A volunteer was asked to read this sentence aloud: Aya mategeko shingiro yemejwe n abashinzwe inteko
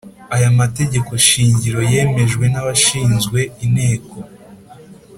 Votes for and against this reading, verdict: 3, 0, accepted